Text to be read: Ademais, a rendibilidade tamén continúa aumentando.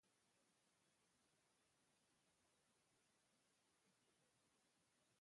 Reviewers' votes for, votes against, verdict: 0, 2, rejected